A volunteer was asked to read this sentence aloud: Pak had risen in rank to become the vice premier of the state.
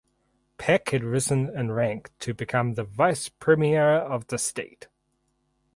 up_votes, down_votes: 2, 4